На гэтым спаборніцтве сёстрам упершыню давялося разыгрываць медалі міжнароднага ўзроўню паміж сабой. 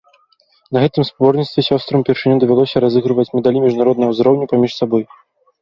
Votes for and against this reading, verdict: 2, 0, accepted